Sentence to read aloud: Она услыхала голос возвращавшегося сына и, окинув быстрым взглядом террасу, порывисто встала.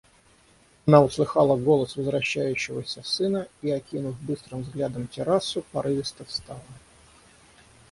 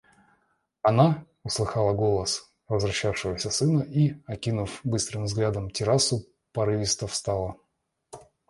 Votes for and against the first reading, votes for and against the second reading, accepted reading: 3, 3, 2, 0, second